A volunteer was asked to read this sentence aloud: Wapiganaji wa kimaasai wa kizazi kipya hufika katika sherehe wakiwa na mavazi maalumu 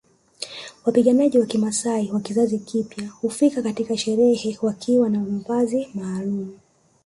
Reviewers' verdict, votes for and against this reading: accepted, 2, 0